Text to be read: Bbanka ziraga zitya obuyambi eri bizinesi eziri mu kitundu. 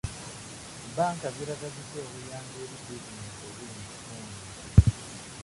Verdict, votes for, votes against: rejected, 1, 2